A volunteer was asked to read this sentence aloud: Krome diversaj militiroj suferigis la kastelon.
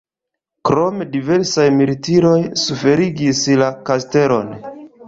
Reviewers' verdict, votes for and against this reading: accepted, 2, 1